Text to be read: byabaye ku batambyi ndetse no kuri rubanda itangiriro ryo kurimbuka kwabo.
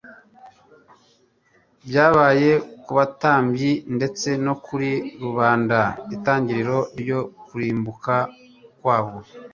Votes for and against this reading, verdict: 2, 0, accepted